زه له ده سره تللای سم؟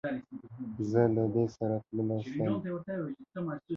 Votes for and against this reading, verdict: 3, 0, accepted